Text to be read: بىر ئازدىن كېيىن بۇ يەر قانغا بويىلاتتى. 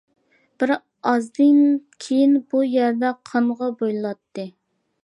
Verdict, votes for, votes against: rejected, 0, 2